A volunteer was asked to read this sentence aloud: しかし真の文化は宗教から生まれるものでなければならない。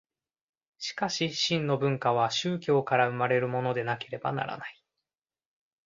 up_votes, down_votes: 2, 0